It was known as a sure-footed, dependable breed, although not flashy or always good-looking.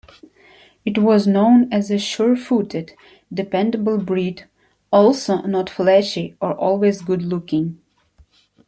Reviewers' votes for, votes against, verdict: 0, 2, rejected